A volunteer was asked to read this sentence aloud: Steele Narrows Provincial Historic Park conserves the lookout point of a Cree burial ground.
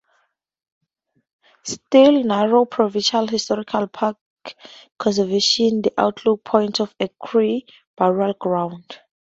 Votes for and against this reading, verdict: 2, 2, rejected